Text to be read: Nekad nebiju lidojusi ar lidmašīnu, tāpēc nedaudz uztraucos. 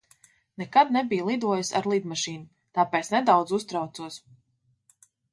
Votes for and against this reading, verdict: 2, 0, accepted